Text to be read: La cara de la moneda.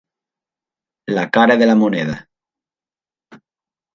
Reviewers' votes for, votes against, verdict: 3, 0, accepted